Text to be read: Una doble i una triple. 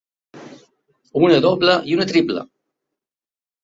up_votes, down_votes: 3, 0